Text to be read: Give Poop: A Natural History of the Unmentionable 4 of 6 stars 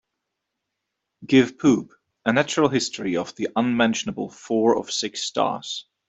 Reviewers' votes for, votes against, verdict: 0, 2, rejected